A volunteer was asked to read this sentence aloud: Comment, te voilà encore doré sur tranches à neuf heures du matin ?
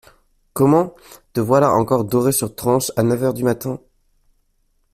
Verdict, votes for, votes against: accepted, 2, 1